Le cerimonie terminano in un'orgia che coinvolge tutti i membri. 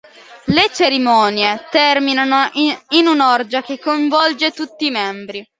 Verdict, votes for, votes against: rejected, 1, 2